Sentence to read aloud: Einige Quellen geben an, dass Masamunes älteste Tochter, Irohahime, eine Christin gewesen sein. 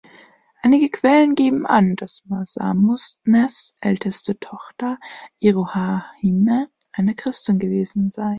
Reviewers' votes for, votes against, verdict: 1, 2, rejected